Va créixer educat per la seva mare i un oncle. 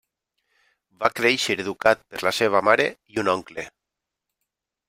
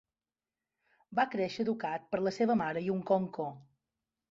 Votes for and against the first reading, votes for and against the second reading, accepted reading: 3, 1, 1, 2, first